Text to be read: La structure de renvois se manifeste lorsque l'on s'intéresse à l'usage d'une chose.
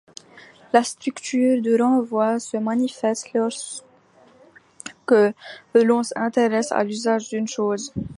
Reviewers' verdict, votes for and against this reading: rejected, 0, 2